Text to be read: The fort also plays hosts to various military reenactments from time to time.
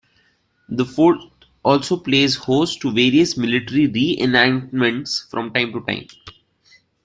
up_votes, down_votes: 0, 2